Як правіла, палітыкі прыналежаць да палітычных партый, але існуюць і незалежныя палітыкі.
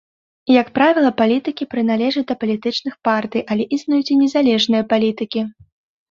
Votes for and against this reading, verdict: 2, 0, accepted